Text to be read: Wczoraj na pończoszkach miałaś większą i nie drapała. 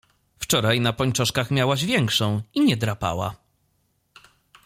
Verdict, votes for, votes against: accepted, 2, 0